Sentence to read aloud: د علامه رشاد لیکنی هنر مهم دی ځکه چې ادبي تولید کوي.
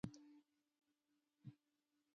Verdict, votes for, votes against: rejected, 1, 2